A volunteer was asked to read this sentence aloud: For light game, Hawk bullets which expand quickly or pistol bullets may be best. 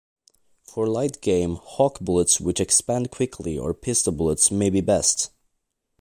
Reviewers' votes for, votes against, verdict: 3, 0, accepted